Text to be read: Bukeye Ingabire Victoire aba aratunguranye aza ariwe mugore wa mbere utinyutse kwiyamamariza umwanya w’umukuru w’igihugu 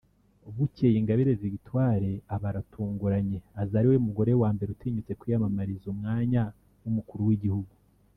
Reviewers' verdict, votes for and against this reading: rejected, 0, 2